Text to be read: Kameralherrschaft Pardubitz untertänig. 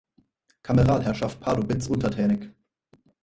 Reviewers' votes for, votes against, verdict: 2, 4, rejected